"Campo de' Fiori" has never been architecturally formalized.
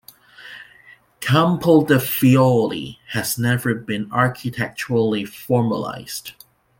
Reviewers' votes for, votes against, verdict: 2, 0, accepted